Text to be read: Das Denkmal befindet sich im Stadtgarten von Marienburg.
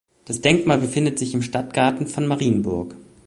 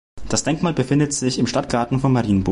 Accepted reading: first